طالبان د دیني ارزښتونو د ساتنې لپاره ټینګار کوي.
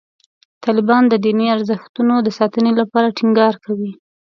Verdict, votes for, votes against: accepted, 2, 0